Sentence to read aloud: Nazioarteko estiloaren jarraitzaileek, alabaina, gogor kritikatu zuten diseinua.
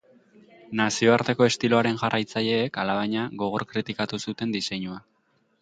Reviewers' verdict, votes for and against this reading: accepted, 4, 0